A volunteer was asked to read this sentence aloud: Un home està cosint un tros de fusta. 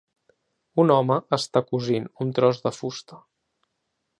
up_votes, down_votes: 2, 0